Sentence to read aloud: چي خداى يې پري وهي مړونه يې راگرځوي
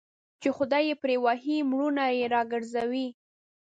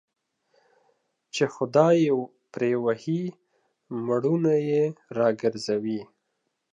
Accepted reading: first